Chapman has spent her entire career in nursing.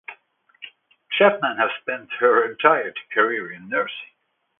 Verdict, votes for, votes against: accepted, 2, 0